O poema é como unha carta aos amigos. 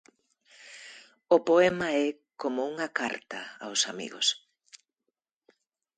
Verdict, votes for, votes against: accepted, 2, 0